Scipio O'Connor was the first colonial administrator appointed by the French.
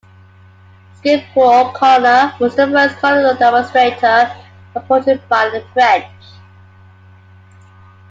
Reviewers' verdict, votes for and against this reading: rejected, 0, 2